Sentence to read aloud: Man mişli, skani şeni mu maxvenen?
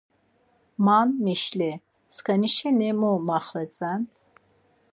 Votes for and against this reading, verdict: 0, 4, rejected